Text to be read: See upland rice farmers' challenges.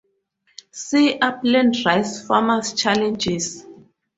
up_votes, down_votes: 2, 2